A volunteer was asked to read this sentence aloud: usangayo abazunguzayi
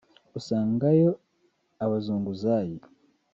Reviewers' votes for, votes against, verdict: 0, 2, rejected